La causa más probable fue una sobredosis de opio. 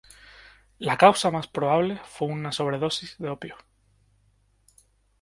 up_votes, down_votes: 2, 0